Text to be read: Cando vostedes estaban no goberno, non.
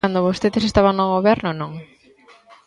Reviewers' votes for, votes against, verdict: 1, 2, rejected